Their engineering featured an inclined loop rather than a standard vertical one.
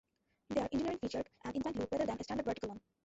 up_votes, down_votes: 0, 2